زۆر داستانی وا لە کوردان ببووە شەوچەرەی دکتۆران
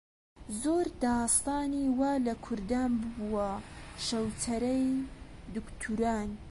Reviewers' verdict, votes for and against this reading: rejected, 1, 2